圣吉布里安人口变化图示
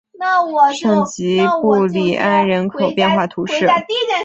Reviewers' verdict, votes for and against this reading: rejected, 1, 3